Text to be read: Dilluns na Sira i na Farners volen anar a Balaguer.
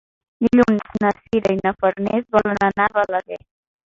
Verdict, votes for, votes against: rejected, 1, 2